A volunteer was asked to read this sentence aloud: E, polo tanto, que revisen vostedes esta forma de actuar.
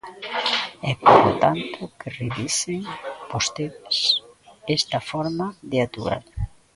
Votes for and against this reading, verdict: 0, 2, rejected